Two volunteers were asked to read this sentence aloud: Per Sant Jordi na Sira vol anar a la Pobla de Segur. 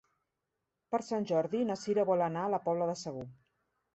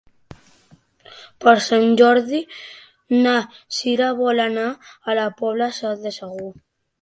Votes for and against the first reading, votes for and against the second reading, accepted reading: 2, 0, 0, 2, first